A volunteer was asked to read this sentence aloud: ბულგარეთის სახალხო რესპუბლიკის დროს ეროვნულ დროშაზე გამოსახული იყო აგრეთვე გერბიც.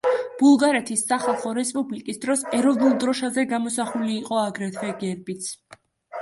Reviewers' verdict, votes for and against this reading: accepted, 2, 0